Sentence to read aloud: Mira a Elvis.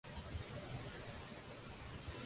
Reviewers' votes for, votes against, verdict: 0, 2, rejected